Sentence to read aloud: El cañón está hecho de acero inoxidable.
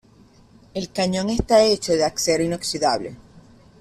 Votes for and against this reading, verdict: 0, 2, rejected